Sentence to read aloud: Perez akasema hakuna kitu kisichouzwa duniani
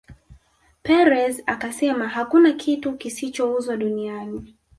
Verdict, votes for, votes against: rejected, 2, 3